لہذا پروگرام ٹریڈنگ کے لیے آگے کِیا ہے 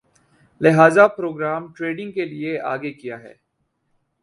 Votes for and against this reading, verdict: 4, 0, accepted